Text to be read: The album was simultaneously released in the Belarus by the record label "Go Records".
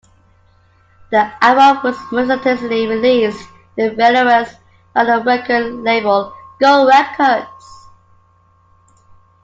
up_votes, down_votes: 0, 2